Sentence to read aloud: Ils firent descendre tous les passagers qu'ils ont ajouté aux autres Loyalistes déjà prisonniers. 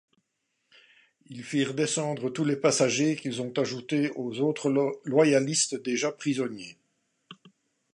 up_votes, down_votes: 0, 2